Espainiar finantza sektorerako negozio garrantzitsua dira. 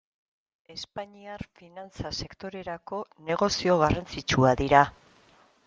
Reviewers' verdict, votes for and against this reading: accepted, 2, 0